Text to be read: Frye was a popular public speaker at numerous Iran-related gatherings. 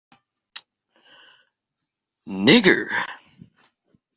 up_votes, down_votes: 0, 2